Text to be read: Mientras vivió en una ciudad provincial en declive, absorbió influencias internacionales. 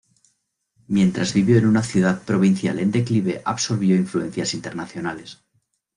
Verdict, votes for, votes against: accepted, 2, 0